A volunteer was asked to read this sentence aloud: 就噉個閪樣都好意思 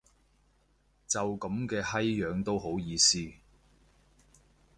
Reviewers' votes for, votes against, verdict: 1, 3, rejected